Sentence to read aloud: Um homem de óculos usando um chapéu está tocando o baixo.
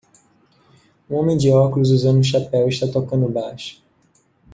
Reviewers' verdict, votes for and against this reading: accepted, 2, 1